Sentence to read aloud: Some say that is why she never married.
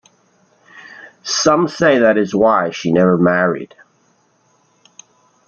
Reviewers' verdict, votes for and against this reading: accepted, 2, 1